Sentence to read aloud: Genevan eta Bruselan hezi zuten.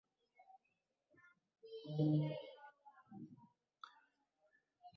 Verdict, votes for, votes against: rejected, 0, 2